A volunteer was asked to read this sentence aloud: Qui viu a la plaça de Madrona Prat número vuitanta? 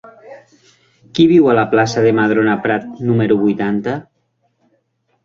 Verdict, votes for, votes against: accepted, 3, 0